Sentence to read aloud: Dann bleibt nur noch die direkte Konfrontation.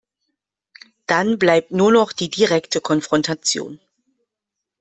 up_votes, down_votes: 2, 0